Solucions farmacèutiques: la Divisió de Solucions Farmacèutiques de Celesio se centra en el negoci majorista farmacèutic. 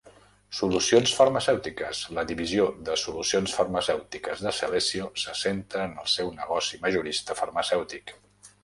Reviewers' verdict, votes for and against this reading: rejected, 0, 2